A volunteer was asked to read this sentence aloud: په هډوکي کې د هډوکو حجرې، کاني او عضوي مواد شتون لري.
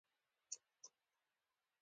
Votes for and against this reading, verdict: 2, 0, accepted